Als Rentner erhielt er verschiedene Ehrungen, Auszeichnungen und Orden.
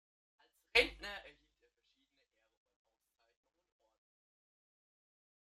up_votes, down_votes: 0, 2